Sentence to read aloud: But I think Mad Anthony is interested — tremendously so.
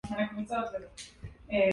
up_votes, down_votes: 0, 2